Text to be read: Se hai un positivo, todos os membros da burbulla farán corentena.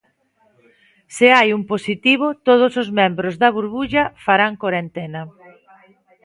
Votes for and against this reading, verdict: 2, 0, accepted